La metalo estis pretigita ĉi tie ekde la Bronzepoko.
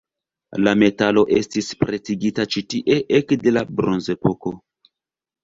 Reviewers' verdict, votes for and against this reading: accepted, 3, 0